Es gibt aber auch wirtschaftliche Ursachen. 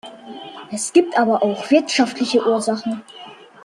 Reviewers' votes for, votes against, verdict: 2, 1, accepted